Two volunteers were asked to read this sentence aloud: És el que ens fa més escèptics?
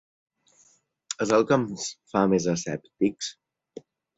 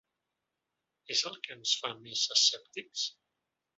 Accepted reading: first